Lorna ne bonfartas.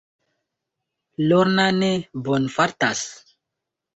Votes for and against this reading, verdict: 2, 0, accepted